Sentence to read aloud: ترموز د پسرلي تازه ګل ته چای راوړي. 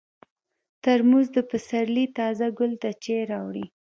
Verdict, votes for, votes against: rejected, 0, 2